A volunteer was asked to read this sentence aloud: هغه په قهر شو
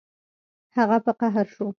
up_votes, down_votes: 2, 0